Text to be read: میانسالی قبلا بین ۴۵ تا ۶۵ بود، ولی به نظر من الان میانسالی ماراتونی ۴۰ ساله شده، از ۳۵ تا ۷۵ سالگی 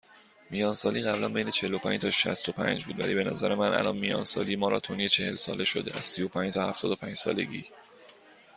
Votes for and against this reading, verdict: 0, 2, rejected